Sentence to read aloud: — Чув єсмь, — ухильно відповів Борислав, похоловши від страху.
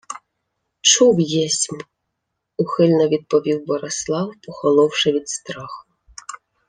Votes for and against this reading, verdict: 2, 0, accepted